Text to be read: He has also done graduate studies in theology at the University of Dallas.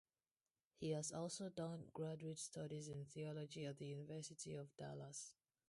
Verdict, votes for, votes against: rejected, 0, 2